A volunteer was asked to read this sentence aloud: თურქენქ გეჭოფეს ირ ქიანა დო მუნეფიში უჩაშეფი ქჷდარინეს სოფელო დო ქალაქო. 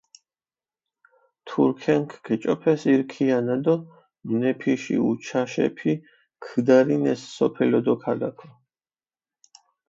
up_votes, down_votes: 4, 0